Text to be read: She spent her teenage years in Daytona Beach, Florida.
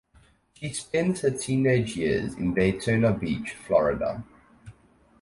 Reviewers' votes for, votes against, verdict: 2, 2, rejected